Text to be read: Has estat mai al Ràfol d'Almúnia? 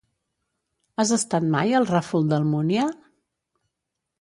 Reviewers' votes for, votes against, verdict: 3, 0, accepted